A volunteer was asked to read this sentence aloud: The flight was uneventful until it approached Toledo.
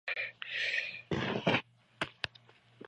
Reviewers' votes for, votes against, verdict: 0, 2, rejected